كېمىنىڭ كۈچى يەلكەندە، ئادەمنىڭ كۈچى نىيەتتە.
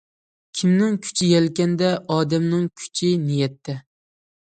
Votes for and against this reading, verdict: 1, 2, rejected